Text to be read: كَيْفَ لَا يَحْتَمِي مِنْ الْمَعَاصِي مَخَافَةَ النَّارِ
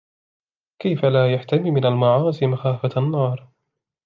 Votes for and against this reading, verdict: 2, 0, accepted